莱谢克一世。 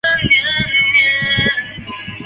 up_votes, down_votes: 2, 3